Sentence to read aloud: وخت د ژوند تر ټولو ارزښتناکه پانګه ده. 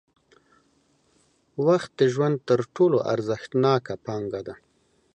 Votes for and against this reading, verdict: 2, 0, accepted